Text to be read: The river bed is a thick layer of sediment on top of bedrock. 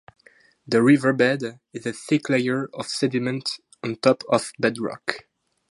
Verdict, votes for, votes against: rejected, 0, 2